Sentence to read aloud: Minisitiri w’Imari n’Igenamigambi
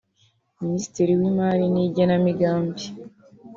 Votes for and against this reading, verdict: 2, 0, accepted